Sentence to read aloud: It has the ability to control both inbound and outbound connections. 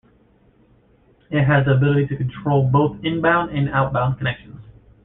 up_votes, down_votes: 0, 2